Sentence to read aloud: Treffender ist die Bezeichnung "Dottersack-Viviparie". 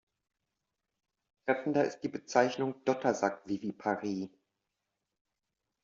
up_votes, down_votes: 2, 0